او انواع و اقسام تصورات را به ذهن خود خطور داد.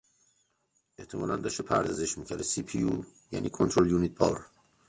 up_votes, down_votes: 0, 2